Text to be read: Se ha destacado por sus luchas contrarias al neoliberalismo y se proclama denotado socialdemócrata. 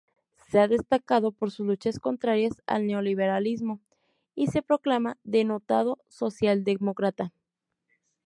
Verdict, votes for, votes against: accepted, 2, 0